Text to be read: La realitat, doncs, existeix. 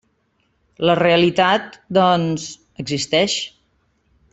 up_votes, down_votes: 3, 1